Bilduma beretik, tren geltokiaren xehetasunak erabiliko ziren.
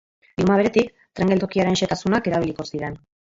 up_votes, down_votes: 0, 3